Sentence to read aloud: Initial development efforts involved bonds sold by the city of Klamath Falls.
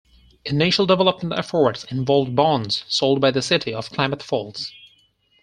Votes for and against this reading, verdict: 2, 4, rejected